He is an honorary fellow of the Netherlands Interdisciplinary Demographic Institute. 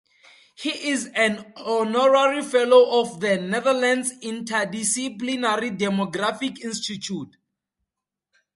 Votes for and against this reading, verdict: 2, 2, rejected